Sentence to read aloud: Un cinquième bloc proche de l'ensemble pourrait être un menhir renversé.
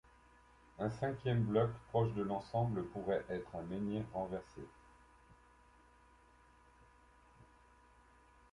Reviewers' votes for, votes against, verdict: 2, 0, accepted